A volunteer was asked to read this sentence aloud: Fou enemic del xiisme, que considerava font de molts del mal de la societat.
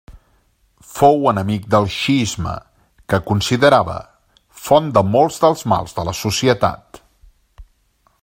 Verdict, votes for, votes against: rejected, 1, 2